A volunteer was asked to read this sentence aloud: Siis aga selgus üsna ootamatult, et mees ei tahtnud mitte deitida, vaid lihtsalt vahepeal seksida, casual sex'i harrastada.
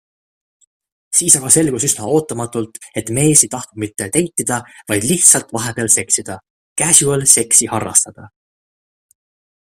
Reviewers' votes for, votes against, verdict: 2, 0, accepted